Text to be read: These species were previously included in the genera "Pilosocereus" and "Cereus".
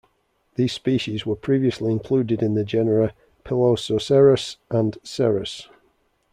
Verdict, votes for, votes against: accepted, 2, 1